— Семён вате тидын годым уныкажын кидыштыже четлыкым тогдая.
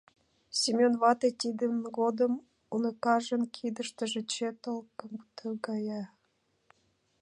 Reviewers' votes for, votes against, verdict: 0, 2, rejected